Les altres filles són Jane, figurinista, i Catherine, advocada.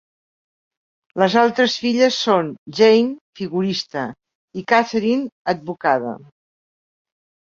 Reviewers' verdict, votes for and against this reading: rejected, 1, 4